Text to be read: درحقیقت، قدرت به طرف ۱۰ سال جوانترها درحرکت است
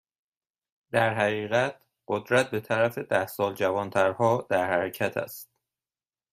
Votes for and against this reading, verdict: 0, 2, rejected